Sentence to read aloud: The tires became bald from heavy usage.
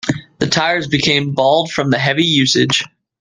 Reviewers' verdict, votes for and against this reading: accepted, 2, 1